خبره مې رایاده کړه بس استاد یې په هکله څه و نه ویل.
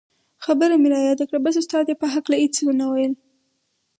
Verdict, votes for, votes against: accepted, 4, 2